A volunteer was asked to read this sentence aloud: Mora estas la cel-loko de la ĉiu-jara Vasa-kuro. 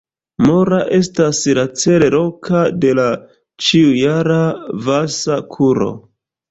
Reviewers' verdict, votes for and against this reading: rejected, 0, 2